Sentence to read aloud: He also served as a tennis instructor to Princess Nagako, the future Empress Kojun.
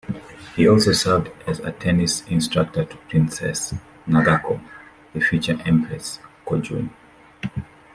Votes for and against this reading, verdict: 2, 0, accepted